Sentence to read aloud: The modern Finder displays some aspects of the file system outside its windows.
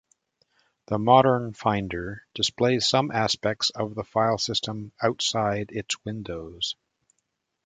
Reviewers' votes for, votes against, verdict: 2, 0, accepted